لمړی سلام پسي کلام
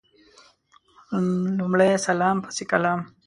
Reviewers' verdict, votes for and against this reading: accepted, 2, 0